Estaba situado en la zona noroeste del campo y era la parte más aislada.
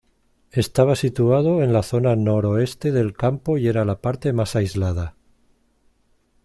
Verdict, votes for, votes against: accepted, 2, 0